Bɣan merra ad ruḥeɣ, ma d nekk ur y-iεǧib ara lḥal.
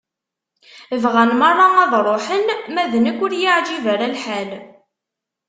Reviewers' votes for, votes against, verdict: 1, 2, rejected